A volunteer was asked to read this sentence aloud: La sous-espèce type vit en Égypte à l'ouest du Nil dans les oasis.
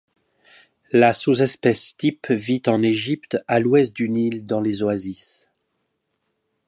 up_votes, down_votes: 2, 0